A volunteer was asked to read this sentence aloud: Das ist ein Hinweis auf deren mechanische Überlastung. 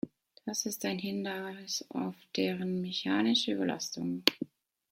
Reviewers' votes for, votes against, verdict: 1, 2, rejected